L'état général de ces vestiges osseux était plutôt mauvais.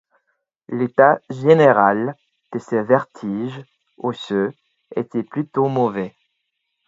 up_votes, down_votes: 2, 4